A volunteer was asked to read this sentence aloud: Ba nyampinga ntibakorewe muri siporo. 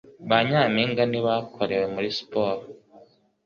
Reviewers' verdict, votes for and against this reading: accepted, 3, 0